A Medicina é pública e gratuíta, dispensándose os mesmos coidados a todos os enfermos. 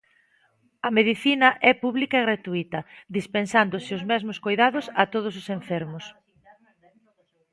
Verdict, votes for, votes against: rejected, 1, 2